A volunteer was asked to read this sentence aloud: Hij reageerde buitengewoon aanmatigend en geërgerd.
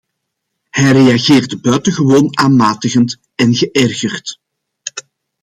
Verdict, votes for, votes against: accepted, 2, 0